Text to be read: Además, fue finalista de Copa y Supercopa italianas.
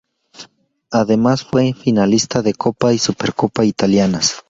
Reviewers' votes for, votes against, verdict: 2, 0, accepted